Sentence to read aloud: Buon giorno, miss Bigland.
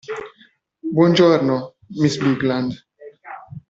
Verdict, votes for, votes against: accepted, 2, 1